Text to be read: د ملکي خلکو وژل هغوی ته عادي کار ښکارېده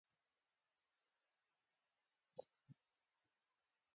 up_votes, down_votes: 1, 2